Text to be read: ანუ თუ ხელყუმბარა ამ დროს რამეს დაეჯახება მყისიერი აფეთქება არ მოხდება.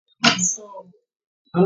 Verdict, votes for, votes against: rejected, 0, 2